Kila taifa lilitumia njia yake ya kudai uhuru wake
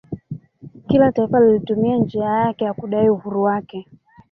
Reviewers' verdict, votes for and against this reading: accepted, 4, 1